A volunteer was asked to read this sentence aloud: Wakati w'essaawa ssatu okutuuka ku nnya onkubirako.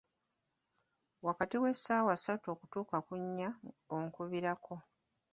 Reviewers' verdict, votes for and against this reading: rejected, 1, 2